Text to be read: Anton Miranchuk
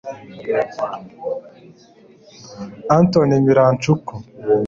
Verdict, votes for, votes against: rejected, 1, 2